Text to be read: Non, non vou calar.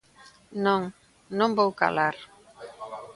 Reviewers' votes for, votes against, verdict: 0, 2, rejected